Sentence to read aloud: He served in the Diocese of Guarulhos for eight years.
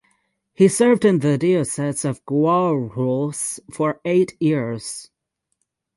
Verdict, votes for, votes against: rejected, 0, 3